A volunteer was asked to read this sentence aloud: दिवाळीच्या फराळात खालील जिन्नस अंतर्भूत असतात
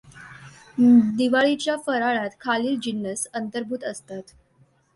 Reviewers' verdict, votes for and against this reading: accepted, 2, 0